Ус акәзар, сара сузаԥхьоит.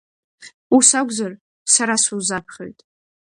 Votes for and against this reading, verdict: 2, 0, accepted